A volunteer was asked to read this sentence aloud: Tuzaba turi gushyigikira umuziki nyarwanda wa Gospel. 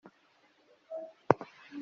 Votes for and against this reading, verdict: 0, 2, rejected